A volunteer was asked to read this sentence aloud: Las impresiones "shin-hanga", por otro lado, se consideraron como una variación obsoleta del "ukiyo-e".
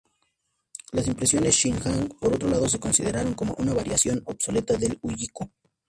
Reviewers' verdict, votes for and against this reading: accepted, 2, 0